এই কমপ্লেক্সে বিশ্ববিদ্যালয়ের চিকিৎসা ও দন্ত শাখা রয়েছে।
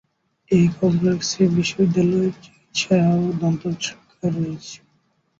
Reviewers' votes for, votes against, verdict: 0, 2, rejected